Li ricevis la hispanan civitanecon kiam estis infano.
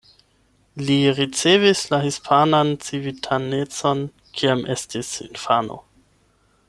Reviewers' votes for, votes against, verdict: 8, 0, accepted